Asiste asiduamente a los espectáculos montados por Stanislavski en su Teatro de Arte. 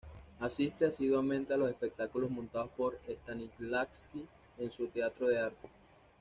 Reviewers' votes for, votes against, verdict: 2, 0, accepted